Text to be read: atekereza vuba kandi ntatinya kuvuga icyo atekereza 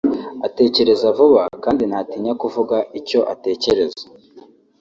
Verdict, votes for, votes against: accepted, 2, 1